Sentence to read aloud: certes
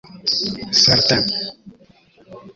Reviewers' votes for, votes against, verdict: 0, 2, rejected